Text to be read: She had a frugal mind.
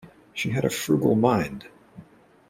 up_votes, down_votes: 2, 0